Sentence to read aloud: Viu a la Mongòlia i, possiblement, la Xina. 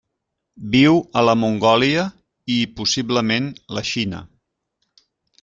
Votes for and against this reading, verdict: 3, 0, accepted